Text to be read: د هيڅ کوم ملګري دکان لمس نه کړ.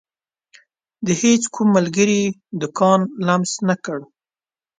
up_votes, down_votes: 2, 0